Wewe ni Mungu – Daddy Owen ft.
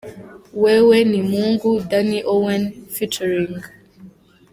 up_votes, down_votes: 3, 0